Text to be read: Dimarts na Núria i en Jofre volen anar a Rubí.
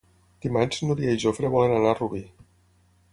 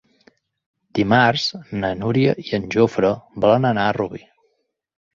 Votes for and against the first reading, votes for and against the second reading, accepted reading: 0, 6, 5, 0, second